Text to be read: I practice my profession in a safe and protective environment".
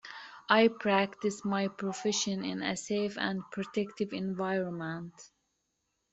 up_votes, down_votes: 2, 0